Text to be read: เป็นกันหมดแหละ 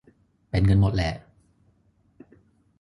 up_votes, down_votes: 3, 0